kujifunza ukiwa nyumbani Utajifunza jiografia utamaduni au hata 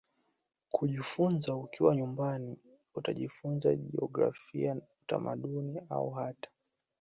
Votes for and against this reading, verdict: 2, 0, accepted